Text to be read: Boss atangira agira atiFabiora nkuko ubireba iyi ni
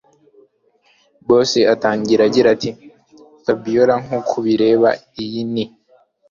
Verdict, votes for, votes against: accepted, 3, 0